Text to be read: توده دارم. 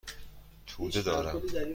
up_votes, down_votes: 2, 0